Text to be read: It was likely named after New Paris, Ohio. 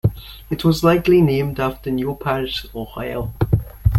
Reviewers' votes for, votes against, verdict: 2, 0, accepted